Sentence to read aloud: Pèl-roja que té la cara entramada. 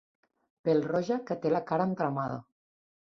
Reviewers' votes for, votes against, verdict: 2, 0, accepted